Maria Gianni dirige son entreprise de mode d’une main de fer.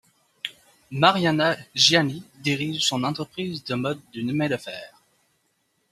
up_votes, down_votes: 1, 2